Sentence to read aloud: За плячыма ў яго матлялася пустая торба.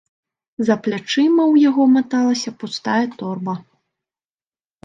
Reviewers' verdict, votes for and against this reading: rejected, 0, 2